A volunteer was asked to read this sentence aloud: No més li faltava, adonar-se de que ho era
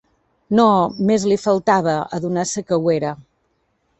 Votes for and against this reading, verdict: 2, 0, accepted